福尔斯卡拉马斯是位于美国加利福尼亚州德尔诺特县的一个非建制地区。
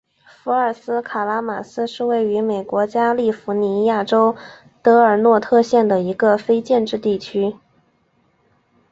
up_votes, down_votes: 4, 0